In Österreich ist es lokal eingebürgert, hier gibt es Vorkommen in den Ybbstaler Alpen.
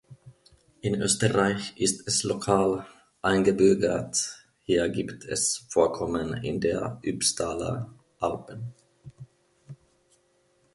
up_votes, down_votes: 0, 2